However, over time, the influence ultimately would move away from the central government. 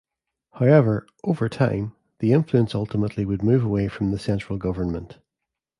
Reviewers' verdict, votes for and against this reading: accepted, 2, 0